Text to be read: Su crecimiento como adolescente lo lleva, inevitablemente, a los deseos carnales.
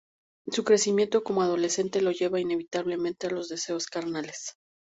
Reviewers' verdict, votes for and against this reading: rejected, 2, 2